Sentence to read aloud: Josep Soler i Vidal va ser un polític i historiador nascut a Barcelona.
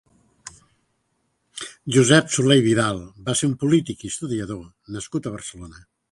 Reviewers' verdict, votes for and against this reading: accepted, 2, 0